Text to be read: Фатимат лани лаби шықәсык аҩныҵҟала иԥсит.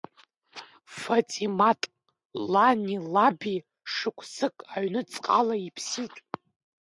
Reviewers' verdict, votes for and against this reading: rejected, 1, 2